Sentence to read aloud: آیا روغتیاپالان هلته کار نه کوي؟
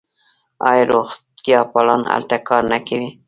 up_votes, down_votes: 1, 2